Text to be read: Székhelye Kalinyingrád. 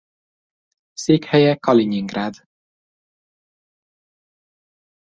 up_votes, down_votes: 3, 0